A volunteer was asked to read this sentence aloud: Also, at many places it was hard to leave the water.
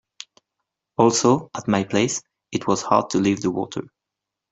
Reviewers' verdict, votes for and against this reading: rejected, 0, 2